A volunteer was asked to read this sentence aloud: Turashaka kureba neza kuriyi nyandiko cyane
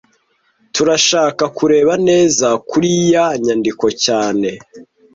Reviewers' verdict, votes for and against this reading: rejected, 1, 2